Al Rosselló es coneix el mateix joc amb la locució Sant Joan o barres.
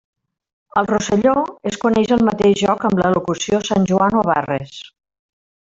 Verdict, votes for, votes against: accepted, 2, 0